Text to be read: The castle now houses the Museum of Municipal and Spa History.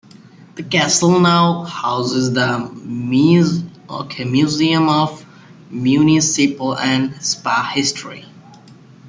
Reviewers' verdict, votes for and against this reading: accepted, 2, 1